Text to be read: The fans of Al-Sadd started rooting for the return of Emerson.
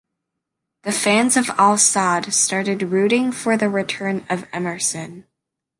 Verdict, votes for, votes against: accepted, 2, 0